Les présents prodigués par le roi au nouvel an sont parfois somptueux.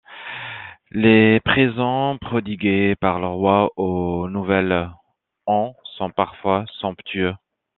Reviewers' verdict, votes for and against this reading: accepted, 2, 0